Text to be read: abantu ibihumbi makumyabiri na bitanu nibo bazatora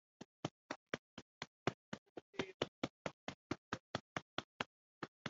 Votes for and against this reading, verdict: 1, 3, rejected